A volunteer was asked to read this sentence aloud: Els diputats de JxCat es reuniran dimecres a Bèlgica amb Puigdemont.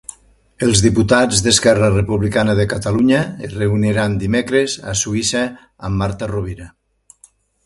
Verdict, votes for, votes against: rejected, 0, 2